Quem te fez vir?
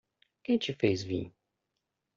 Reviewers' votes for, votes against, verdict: 1, 2, rejected